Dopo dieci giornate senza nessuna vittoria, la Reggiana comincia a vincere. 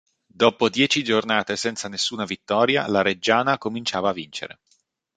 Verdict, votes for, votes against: rejected, 0, 2